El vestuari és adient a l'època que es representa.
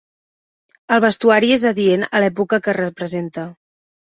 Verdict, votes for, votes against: rejected, 0, 2